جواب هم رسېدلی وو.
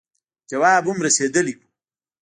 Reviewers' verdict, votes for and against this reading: rejected, 0, 2